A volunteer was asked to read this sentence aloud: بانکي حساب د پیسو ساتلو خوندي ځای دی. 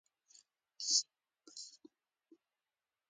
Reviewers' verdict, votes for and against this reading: accepted, 2, 0